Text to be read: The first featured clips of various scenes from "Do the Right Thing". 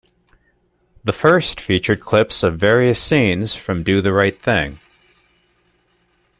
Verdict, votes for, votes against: accepted, 2, 0